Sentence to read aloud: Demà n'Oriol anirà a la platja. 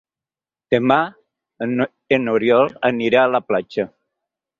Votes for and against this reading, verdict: 0, 4, rejected